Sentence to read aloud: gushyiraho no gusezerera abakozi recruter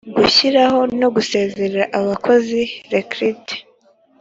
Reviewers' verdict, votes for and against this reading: accepted, 3, 0